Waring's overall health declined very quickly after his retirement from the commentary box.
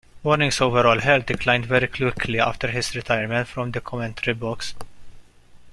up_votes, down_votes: 2, 1